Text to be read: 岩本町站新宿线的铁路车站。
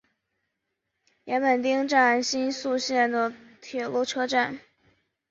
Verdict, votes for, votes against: accepted, 4, 0